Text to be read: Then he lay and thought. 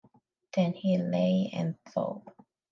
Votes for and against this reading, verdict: 2, 0, accepted